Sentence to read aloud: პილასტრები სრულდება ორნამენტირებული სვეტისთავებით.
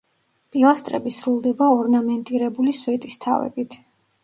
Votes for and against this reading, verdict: 2, 0, accepted